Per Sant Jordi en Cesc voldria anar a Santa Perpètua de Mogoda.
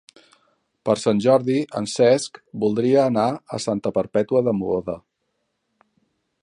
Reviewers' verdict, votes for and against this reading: accepted, 3, 0